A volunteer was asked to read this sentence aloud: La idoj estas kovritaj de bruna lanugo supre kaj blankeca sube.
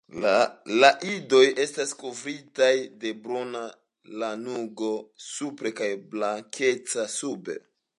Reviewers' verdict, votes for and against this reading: accepted, 2, 0